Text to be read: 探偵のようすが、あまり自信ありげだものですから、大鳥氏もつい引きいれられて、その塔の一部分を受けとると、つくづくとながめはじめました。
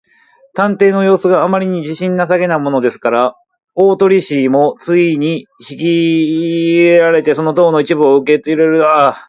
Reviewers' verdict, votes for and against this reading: rejected, 0, 2